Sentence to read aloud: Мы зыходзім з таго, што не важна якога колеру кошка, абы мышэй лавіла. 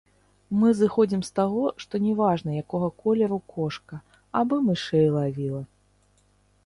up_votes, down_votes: 0, 2